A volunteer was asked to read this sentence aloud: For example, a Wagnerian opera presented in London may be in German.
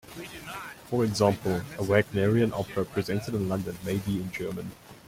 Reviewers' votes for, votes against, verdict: 0, 2, rejected